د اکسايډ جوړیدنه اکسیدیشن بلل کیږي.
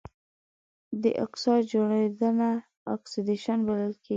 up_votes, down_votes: 2, 0